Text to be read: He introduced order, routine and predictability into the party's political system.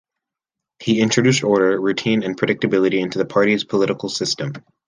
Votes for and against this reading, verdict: 3, 0, accepted